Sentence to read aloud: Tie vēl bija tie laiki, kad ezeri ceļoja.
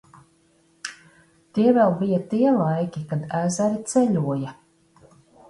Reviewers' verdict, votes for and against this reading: accepted, 2, 0